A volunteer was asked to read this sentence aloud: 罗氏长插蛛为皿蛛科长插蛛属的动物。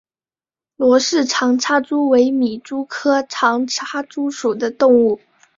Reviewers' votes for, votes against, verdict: 3, 0, accepted